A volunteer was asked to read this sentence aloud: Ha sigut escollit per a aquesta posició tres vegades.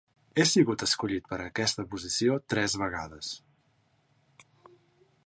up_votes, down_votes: 0, 3